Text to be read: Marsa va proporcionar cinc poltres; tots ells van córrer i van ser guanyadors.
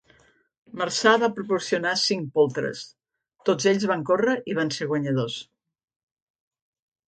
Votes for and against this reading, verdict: 2, 0, accepted